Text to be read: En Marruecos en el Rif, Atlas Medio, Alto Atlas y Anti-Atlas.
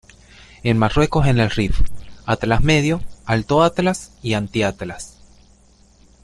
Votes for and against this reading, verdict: 2, 0, accepted